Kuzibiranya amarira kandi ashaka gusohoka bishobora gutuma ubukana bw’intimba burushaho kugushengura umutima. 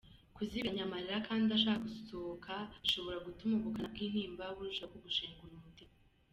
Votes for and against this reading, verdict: 2, 0, accepted